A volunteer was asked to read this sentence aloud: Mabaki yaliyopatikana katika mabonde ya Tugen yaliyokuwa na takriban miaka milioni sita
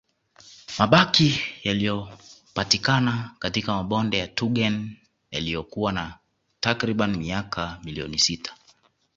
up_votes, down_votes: 2, 1